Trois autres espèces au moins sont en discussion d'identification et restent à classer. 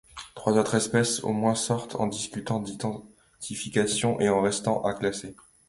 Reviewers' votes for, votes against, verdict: 2, 1, accepted